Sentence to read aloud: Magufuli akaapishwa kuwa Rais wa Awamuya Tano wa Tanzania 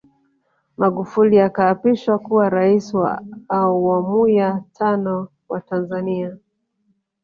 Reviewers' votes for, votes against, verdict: 2, 3, rejected